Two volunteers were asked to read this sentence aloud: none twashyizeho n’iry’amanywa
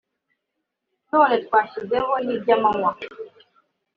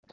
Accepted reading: first